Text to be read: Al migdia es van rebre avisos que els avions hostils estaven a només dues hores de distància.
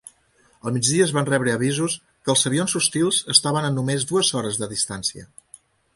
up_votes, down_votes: 2, 0